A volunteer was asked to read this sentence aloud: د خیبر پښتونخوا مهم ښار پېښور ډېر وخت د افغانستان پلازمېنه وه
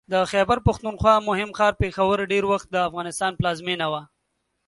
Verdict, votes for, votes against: accepted, 2, 0